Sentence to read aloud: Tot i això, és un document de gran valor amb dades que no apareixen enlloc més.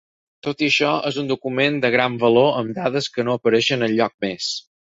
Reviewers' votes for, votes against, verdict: 6, 0, accepted